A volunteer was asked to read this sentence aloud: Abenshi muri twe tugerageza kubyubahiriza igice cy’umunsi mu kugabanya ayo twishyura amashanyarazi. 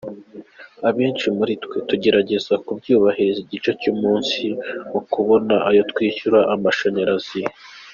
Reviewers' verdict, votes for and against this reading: rejected, 0, 2